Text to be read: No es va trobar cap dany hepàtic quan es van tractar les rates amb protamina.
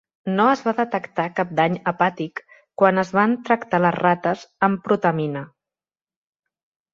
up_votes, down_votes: 0, 2